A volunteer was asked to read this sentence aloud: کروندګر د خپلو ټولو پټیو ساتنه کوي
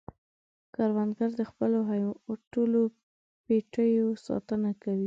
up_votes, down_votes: 2, 1